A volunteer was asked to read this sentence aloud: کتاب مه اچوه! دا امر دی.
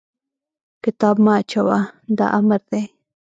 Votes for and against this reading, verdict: 1, 2, rejected